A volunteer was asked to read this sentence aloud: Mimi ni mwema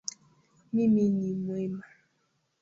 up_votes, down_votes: 2, 1